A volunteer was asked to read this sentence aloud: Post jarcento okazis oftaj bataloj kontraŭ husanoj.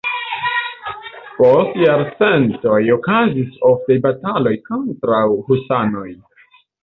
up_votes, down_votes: 0, 2